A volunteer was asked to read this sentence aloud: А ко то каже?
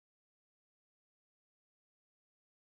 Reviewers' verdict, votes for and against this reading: rejected, 0, 2